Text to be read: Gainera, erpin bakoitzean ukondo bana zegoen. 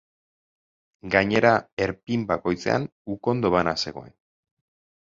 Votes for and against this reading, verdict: 4, 0, accepted